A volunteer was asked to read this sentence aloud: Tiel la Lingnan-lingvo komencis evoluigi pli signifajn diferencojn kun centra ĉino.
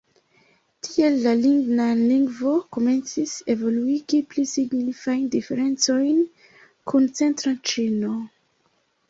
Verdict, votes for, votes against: rejected, 0, 2